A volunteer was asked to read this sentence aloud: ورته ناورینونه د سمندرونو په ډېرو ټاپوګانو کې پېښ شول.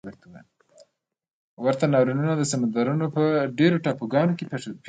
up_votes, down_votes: 2, 0